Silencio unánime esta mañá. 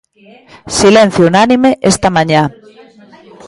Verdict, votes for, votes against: accepted, 2, 0